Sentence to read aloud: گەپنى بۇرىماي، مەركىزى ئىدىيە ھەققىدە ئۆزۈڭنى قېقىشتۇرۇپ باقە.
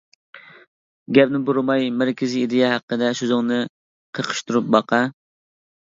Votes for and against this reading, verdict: 1, 2, rejected